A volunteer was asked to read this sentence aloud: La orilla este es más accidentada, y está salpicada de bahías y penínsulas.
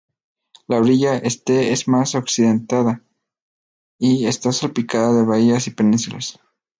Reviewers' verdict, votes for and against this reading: accepted, 2, 0